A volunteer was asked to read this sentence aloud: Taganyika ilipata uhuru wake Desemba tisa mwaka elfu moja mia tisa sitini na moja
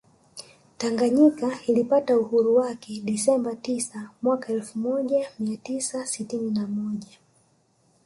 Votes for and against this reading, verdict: 2, 0, accepted